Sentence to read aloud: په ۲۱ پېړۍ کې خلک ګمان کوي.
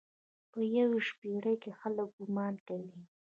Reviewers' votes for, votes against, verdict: 0, 2, rejected